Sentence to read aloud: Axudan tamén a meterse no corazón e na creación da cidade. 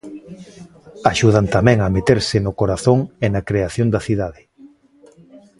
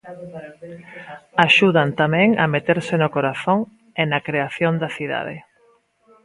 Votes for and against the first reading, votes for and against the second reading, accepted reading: 2, 0, 1, 2, first